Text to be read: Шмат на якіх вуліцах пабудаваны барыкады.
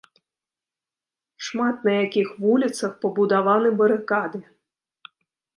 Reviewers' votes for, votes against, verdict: 2, 1, accepted